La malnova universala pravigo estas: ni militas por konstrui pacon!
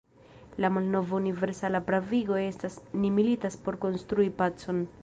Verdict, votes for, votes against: rejected, 1, 2